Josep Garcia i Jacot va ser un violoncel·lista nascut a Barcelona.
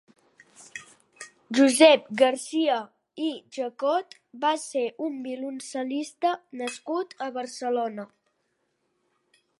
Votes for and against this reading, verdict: 3, 0, accepted